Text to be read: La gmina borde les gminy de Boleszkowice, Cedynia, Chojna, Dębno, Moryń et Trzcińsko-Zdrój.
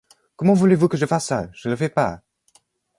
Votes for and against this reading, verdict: 1, 2, rejected